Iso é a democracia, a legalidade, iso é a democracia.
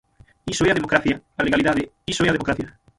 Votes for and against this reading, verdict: 0, 6, rejected